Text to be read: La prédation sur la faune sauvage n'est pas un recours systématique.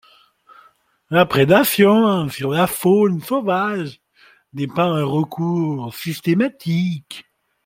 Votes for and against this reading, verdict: 2, 0, accepted